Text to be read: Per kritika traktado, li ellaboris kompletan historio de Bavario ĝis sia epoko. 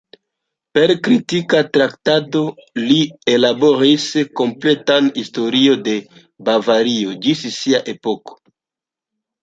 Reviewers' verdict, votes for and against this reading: rejected, 0, 2